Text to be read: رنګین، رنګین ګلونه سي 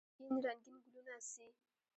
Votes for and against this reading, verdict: 1, 2, rejected